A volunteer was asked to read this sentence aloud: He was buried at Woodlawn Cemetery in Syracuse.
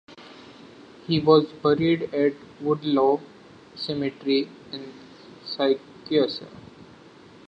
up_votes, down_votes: 0, 2